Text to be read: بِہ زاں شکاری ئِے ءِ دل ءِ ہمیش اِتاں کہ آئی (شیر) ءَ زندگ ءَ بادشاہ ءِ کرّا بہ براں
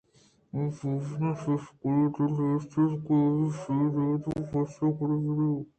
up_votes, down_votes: 2, 0